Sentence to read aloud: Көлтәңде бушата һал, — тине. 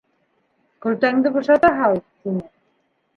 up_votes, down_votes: 2, 1